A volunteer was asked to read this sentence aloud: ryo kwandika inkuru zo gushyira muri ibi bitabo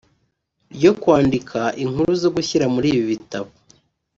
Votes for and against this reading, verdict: 0, 2, rejected